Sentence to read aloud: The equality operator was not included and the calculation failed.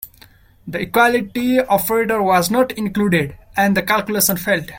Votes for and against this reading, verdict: 1, 2, rejected